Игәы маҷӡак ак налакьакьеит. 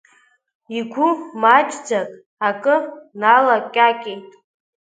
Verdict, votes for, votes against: rejected, 1, 3